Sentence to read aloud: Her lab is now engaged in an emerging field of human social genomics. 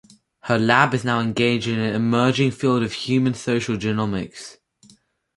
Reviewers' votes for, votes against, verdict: 4, 0, accepted